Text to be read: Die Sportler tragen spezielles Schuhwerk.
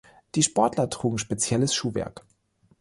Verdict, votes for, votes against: rejected, 2, 3